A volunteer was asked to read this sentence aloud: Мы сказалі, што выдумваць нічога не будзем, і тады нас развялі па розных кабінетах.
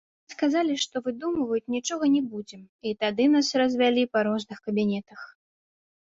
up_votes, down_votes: 1, 2